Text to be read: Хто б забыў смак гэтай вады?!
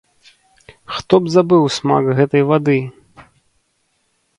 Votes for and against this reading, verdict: 2, 0, accepted